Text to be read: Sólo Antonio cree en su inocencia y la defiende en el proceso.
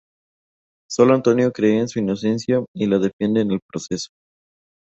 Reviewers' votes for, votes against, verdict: 2, 0, accepted